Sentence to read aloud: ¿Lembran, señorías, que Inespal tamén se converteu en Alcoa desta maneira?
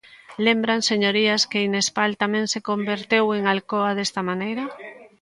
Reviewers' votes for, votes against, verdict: 1, 2, rejected